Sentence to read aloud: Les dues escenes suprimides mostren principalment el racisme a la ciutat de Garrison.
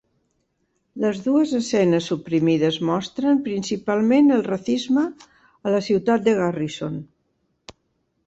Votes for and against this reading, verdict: 0, 3, rejected